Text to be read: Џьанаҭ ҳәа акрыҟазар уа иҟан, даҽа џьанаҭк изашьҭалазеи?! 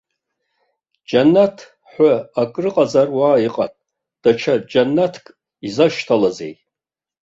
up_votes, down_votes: 2, 0